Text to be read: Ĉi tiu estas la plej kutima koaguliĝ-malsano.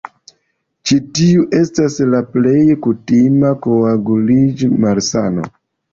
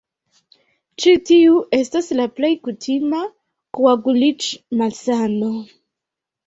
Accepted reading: first